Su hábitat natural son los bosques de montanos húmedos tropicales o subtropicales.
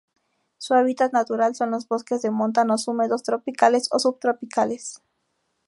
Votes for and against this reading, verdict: 4, 0, accepted